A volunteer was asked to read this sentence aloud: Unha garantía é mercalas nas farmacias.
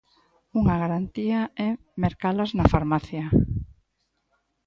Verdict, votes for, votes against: rejected, 1, 2